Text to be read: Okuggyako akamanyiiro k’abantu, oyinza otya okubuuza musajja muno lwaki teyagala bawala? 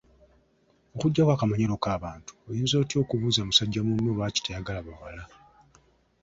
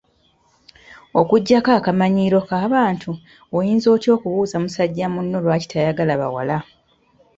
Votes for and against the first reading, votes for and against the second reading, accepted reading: 1, 2, 2, 1, second